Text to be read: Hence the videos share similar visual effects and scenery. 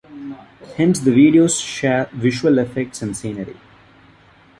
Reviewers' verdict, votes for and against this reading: rejected, 1, 2